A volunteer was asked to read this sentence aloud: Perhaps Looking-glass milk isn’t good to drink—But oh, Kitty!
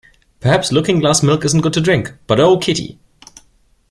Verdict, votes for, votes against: accepted, 2, 0